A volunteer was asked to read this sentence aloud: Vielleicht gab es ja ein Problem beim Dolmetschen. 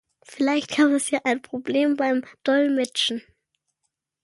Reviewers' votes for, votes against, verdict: 1, 2, rejected